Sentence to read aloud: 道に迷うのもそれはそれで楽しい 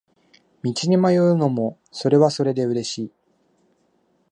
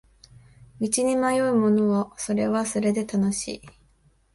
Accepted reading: second